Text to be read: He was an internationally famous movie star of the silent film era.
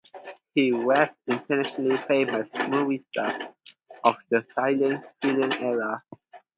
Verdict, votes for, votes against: rejected, 2, 2